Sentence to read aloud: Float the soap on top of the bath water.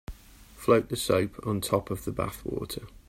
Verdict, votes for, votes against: accepted, 4, 0